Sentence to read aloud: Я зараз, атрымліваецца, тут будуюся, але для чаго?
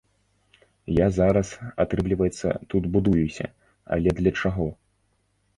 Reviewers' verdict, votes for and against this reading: accepted, 2, 0